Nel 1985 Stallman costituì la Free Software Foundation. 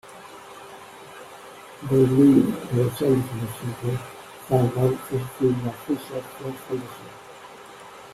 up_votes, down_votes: 0, 2